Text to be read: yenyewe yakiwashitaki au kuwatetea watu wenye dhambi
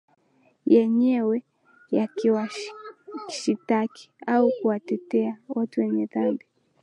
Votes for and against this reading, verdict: 2, 0, accepted